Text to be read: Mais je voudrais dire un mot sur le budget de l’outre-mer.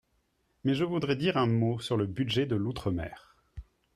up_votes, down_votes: 4, 0